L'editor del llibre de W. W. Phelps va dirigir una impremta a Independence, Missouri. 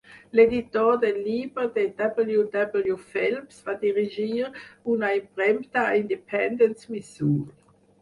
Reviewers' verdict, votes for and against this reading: rejected, 2, 4